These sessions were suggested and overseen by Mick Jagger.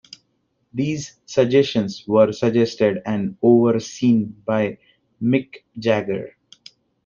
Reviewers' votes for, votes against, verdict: 0, 2, rejected